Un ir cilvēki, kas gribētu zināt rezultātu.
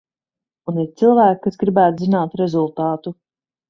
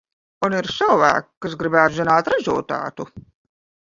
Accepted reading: first